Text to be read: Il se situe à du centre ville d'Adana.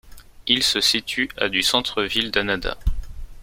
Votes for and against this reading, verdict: 2, 1, accepted